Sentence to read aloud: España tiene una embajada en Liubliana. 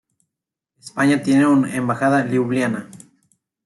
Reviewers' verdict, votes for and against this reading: rejected, 0, 2